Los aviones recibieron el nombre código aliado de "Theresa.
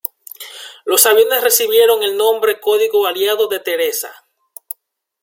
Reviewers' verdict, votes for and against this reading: rejected, 1, 2